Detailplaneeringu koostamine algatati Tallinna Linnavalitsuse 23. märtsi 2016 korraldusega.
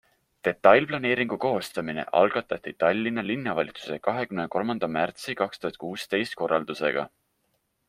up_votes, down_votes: 0, 2